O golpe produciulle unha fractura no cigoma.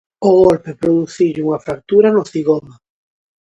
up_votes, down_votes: 0, 2